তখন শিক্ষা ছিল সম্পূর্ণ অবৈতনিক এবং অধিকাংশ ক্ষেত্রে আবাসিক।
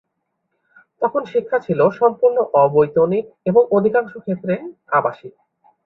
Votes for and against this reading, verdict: 2, 0, accepted